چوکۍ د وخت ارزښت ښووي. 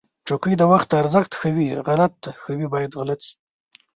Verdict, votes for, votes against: rejected, 0, 2